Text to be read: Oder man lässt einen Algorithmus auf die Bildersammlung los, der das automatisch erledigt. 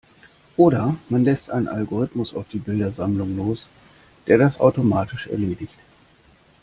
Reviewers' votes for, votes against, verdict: 2, 0, accepted